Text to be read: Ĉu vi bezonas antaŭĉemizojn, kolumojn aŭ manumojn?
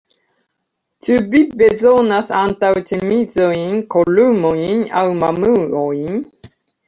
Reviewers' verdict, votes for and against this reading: rejected, 0, 2